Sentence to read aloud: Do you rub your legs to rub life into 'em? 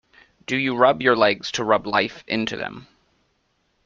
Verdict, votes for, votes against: rejected, 1, 2